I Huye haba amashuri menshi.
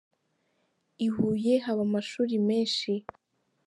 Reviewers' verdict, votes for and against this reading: accepted, 2, 0